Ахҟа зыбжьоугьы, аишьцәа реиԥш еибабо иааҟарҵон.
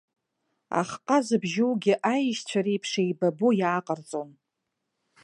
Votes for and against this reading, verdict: 2, 0, accepted